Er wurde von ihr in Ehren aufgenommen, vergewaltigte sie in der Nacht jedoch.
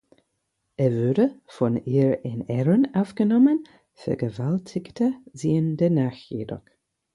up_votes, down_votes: 2, 4